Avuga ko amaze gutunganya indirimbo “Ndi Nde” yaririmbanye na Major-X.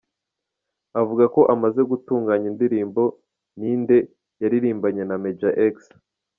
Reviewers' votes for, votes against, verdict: 1, 2, rejected